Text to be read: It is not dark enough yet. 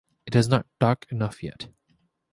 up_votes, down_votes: 2, 0